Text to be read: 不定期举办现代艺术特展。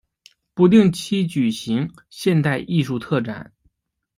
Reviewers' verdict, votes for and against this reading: rejected, 0, 2